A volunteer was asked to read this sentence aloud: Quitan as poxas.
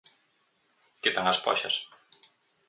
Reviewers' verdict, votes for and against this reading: accepted, 4, 0